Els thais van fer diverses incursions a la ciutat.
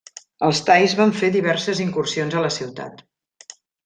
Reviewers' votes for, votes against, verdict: 3, 0, accepted